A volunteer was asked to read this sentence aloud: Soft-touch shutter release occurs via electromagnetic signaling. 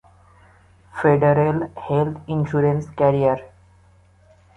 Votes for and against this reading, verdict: 0, 2, rejected